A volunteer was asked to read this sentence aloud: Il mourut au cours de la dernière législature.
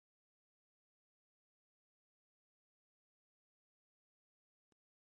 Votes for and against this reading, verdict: 1, 2, rejected